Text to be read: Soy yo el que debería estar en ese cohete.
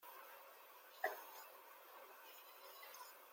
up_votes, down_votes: 0, 2